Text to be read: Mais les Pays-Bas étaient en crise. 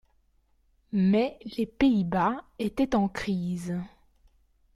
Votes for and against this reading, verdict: 1, 2, rejected